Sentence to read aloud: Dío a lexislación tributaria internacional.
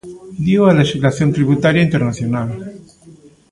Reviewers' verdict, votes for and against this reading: accepted, 2, 0